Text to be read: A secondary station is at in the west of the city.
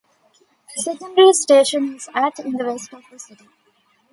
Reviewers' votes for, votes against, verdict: 1, 2, rejected